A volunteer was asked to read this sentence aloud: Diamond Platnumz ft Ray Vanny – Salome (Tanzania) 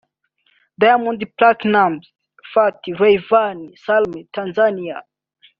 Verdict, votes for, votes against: rejected, 0, 2